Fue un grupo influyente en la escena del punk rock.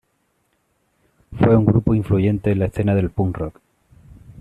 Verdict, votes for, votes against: accepted, 2, 1